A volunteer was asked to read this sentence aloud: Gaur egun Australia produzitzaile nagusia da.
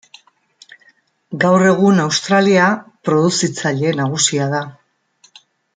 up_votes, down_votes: 2, 0